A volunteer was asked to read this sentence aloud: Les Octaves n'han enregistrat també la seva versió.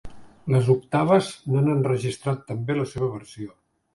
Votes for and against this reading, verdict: 2, 0, accepted